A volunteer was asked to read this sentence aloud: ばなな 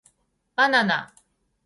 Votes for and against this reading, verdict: 2, 0, accepted